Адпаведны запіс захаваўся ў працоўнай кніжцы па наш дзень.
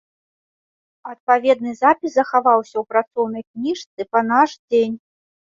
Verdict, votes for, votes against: accepted, 2, 0